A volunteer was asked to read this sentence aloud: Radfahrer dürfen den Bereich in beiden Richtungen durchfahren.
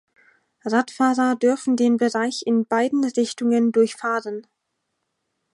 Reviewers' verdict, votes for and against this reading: rejected, 2, 4